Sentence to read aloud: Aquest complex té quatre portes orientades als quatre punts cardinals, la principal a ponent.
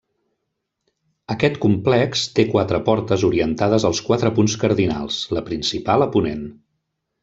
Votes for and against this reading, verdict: 3, 0, accepted